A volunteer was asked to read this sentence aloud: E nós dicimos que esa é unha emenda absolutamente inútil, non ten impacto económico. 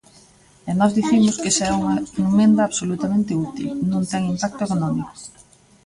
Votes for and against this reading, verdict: 0, 2, rejected